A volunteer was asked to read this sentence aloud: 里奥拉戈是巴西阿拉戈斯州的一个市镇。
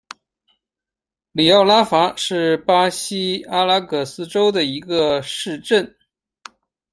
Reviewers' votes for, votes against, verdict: 0, 2, rejected